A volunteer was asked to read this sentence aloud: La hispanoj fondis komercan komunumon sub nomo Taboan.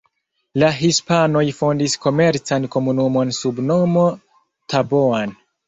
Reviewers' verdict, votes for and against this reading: accepted, 2, 0